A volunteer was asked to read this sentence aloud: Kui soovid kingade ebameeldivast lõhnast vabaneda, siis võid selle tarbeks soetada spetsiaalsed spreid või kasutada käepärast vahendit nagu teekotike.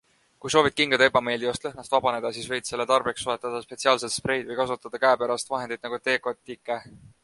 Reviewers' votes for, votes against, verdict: 2, 0, accepted